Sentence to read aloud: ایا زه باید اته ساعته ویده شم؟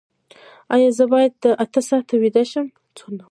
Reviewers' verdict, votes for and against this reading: accepted, 2, 0